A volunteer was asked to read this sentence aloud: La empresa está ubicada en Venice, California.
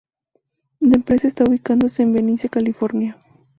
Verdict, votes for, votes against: rejected, 0, 2